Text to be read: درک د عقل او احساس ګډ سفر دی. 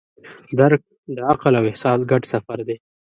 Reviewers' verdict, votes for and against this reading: accepted, 2, 0